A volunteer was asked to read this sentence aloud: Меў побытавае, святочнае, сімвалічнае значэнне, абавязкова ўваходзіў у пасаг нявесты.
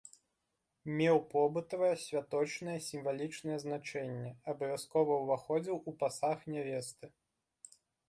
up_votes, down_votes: 2, 0